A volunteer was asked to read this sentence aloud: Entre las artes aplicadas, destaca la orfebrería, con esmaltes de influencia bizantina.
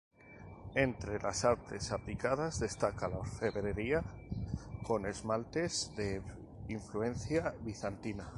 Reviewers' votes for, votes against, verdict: 0, 2, rejected